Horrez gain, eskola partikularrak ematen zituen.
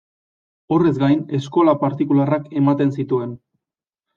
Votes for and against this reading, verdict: 2, 0, accepted